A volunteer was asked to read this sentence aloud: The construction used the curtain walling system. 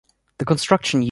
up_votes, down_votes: 0, 2